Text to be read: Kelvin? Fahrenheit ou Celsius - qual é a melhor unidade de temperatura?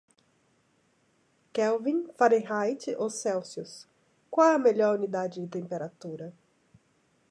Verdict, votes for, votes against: rejected, 1, 2